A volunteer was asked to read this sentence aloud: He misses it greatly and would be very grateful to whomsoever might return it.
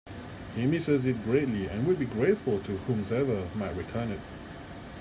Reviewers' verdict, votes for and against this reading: rejected, 0, 2